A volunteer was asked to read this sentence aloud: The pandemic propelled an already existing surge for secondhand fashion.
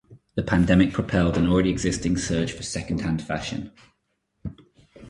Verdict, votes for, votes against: accepted, 2, 0